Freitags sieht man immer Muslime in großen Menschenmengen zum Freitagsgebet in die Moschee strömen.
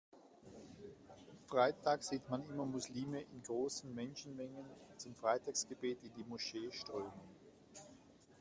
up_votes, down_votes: 2, 0